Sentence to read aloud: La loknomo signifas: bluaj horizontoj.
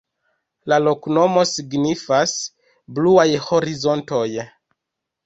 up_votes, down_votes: 0, 2